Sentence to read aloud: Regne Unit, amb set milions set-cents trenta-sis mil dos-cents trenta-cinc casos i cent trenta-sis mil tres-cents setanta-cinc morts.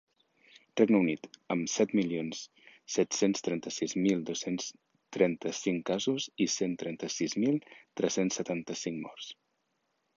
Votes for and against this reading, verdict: 2, 0, accepted